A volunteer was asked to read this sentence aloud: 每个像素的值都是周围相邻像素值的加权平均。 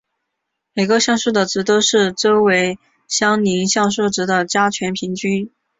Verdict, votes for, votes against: accepted, 3, 0